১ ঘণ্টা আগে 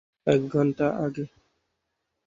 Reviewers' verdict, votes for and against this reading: rejected, 0, 2